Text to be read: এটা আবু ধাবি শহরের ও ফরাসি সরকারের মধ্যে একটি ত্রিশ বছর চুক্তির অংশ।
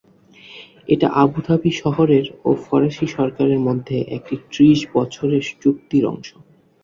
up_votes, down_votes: 0, 2